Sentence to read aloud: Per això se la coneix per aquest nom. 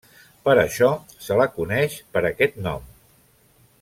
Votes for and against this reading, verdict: 3, 0, accepted